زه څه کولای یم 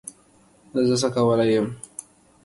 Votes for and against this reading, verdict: 2, 0, accepted